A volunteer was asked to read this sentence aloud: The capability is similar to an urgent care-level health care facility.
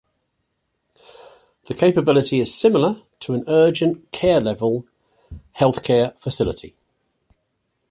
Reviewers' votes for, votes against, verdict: 2, 0, accepted